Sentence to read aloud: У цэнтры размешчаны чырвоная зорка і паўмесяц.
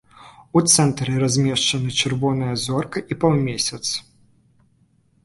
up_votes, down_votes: 2, 0